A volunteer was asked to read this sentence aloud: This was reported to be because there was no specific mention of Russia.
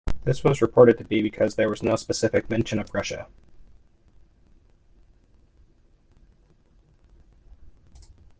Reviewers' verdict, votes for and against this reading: accepted, 2, 0